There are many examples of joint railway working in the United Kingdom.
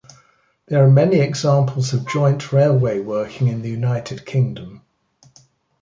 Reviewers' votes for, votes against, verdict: 3, 0, accepted